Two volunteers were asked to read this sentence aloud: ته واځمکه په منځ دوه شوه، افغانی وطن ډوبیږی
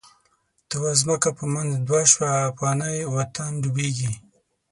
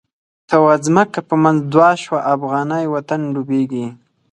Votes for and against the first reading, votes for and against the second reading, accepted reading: 3, 6, 4, 0, second